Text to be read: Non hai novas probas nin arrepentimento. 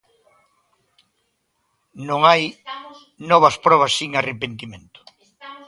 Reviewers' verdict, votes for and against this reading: rejected, 0, 2